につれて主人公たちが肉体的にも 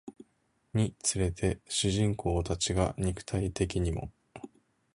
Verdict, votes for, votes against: accepted, 2, 0